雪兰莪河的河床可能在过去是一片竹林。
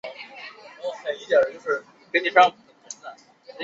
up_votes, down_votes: 1, 9